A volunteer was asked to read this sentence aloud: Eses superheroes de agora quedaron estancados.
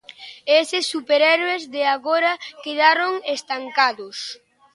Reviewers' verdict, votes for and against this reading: rejected, 0, 2